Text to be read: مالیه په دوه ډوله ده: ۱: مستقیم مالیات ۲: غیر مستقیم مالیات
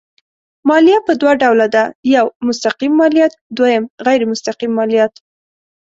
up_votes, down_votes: 0, 2